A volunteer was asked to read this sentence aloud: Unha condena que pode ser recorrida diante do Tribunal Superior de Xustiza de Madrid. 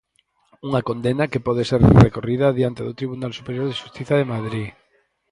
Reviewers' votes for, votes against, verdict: 2, 4, rejected